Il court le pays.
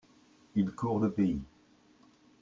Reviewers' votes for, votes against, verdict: 2, 0, accepted